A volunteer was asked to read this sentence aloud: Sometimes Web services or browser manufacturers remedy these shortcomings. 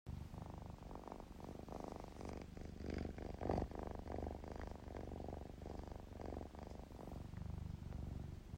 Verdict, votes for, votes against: rejected, 1, 2